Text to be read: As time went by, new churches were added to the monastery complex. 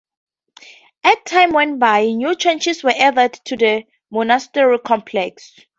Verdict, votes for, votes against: rejected, 2, 2